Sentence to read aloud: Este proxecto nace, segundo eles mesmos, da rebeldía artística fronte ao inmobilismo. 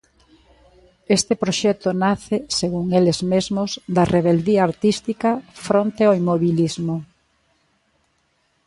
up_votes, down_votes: 2, 1